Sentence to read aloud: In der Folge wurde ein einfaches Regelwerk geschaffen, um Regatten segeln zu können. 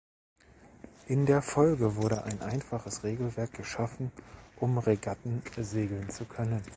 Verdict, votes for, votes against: rejected, 1, 2